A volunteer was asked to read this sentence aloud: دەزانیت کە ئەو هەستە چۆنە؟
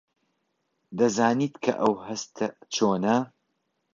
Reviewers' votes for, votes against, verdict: 2, 0, accepted